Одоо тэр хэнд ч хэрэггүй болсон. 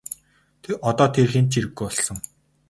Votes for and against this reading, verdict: 2, 2, rejected